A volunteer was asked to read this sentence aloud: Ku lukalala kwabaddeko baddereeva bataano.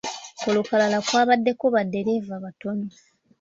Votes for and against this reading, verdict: 1, 2, rejected